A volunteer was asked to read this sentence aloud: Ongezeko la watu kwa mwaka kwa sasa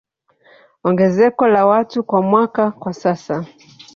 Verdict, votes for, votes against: rejected, 0, 2